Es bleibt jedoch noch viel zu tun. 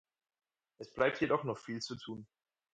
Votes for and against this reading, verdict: 4, 0, accepted